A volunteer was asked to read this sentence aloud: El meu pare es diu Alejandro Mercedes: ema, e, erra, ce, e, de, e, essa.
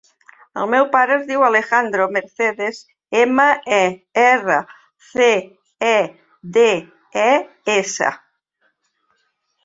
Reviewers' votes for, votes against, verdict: 3, 0, accepted